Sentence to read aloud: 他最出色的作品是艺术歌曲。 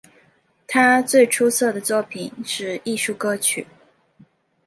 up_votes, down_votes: 2, 0